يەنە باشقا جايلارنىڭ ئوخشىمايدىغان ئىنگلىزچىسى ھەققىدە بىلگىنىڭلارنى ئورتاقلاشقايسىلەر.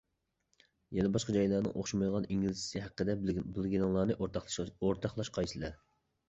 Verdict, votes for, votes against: rejected, 0, 2